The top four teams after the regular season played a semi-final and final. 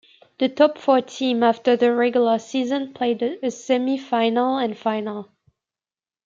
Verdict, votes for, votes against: rejected, 1, 2